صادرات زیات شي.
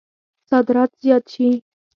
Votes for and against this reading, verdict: 4, 2, accepted